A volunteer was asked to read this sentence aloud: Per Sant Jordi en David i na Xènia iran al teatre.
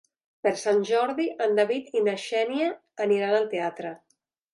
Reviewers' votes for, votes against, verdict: 0, 3, rejected